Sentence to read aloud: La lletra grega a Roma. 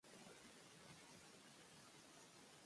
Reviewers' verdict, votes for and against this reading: rejected, 1, 2